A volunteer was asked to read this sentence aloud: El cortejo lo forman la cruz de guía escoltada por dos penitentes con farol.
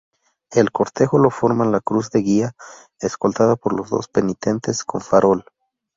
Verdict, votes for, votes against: rejected, 2, 2